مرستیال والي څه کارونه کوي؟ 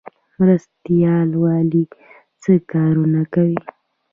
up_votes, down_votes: 2, 0